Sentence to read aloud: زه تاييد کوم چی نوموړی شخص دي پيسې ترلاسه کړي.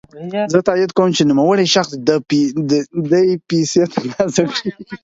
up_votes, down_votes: 0, 4